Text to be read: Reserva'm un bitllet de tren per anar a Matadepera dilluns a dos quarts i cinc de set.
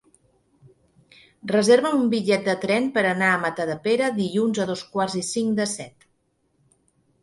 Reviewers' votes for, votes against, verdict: 3, 0, accepted